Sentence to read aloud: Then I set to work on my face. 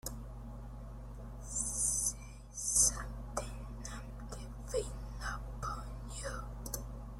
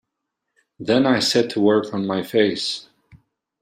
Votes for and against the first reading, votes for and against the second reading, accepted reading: 0, 2, 2, 0, second